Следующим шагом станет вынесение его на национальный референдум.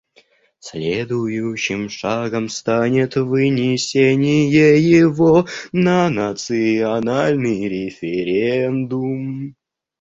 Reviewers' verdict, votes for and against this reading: rejected, 0, 2